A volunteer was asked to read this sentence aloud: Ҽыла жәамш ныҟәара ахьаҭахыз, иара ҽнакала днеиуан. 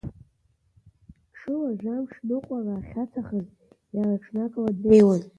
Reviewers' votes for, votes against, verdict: 1, 2, rejected